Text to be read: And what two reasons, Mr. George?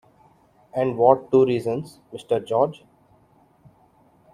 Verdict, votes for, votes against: accepted, 2, 0